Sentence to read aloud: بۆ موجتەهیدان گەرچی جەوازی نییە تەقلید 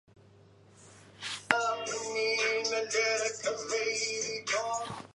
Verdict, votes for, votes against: rejected, 0, 2